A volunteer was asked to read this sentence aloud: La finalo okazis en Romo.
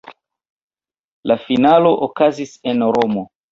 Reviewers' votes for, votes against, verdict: 0, 2, rejected